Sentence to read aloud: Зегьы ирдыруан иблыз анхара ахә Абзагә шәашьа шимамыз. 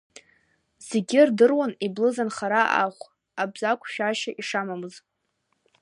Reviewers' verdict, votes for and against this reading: rejected, 1, 2